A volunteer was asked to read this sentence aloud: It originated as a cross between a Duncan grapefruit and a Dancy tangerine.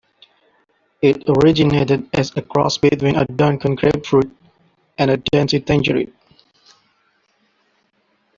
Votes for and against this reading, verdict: 2, 0, accepted